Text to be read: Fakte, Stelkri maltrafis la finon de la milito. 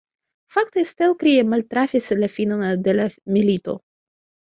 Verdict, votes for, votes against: rejected, 0, 2